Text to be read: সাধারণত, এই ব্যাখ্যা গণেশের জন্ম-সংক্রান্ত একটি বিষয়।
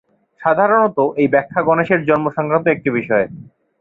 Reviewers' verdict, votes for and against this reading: accepted, 2, 0